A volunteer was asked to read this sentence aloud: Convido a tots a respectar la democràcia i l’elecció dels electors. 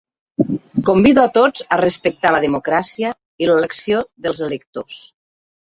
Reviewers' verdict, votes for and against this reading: accepted, 3, 0